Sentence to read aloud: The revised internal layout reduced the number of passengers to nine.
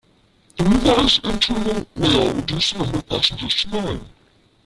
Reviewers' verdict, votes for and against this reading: rejected, 0, 2